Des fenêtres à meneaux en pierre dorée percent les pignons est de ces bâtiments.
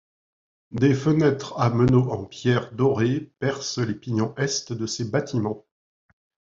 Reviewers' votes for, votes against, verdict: 2, 0, accepted